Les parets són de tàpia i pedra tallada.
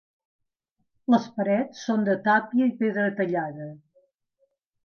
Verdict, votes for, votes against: accepted, 2, 0